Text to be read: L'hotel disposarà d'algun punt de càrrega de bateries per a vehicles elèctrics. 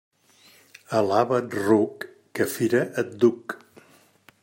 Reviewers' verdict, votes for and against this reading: rejected, 0, 2